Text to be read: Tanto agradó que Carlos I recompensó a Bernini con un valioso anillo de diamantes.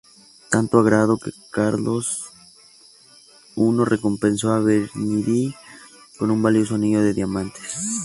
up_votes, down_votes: 2, 0